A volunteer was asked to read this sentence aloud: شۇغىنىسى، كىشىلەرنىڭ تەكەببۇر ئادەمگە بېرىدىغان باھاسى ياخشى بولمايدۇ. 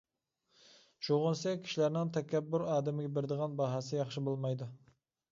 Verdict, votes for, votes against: accepted, 2, 1